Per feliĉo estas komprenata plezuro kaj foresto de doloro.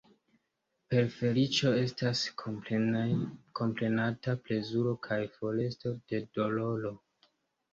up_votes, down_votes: 1, 2